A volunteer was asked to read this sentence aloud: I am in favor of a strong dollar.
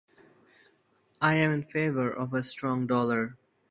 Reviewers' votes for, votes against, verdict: 4, 0, accepted